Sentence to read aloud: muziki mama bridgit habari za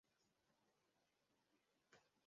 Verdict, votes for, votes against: rejected, 0, 2